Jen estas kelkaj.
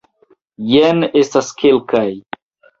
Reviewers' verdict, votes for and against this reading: accepted, 2, 0